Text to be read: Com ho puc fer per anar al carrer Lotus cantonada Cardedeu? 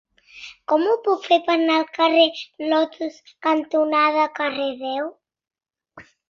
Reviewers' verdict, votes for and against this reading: rejected, 0, 2